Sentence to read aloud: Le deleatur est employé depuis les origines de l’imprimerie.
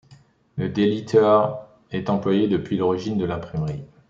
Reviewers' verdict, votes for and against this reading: rejected, 0, 2